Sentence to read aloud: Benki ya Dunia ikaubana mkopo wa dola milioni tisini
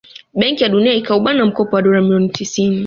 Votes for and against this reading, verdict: 1, 2, rejected